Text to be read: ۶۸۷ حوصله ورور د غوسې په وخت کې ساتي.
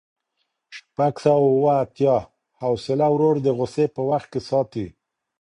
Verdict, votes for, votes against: rejected, 0, 2